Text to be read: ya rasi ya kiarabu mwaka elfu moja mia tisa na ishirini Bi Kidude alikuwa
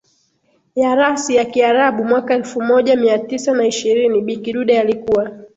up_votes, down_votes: 2, 3